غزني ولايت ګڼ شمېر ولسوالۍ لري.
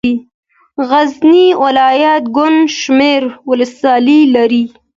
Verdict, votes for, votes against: accepted, 2, 0